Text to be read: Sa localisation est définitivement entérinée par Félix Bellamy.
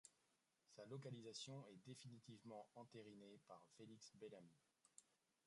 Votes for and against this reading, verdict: 1, 2, rejected